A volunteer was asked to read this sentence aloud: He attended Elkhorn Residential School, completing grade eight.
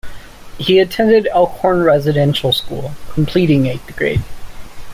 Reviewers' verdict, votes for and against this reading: rejected, 1, 2